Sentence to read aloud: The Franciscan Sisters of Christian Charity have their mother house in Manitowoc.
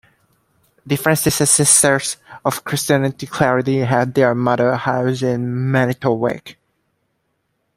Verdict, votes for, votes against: rejected, 0, 2